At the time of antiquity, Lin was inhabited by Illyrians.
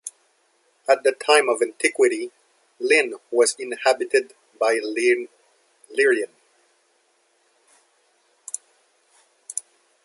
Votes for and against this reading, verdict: 0, 2, rejected